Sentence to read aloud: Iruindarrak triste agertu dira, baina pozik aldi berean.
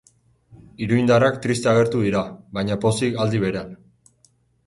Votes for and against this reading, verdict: 0, 2, rejected